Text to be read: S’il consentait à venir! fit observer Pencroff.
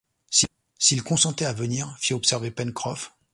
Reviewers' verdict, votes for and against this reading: rejected, 1, 2